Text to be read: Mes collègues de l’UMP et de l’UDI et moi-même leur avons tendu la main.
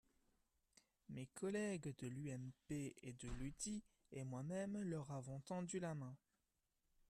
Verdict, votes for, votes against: accepted, 2, 1